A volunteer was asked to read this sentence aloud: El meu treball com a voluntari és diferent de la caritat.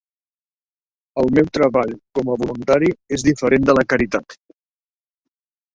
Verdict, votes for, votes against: rejected, 1, 2